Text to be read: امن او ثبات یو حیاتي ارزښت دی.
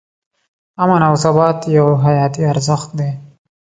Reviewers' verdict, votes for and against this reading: accepted, 2, 0